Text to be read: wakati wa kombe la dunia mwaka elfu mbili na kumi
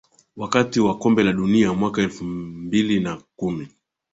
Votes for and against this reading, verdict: 3, 0, accepted